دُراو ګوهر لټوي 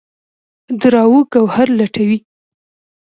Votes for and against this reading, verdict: 2, 0, accepted